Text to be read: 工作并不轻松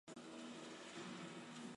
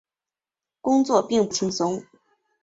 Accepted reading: second